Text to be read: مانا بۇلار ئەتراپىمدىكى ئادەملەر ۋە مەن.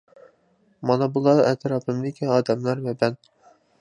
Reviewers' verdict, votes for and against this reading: accepted, 2, 1